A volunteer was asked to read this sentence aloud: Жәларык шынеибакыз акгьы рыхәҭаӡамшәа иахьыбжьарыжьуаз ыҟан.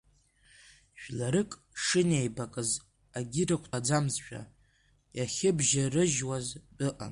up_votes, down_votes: 0, 2